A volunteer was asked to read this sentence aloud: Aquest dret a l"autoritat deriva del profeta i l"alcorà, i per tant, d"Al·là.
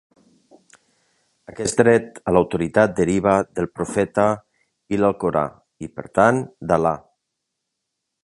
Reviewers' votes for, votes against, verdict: 2, 0, accepted